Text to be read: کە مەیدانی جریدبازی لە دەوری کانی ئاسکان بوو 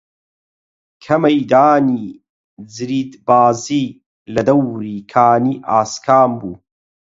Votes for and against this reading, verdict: 8, 0, accepted